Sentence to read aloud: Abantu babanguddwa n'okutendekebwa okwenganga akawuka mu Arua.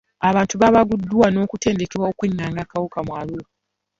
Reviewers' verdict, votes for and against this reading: rejected, 1, 2